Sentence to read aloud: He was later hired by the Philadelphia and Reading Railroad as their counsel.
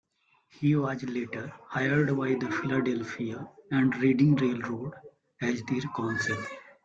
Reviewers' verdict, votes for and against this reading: rejected, 1, 2